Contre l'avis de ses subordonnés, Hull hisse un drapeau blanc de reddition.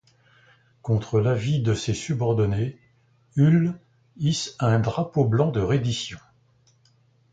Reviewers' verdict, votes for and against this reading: accepted, 2, 0